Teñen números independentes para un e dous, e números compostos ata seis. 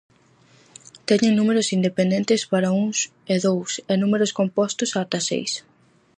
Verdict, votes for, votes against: rejected, 0, 4